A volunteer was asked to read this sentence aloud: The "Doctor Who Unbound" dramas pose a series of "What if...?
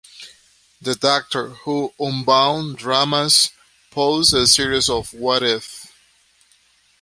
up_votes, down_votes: 2, 0